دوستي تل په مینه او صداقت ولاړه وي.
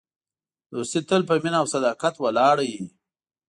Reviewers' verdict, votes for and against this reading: accepted, 2, 0